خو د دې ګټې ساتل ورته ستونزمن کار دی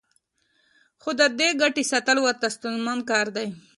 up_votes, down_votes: 2, 0